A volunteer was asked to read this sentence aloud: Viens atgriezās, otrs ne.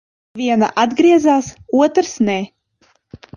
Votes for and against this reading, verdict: 0, 2, rejected